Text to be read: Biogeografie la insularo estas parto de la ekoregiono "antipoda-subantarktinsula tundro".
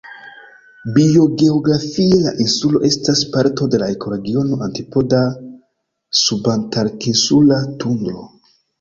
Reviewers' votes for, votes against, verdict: 2, 0, accepted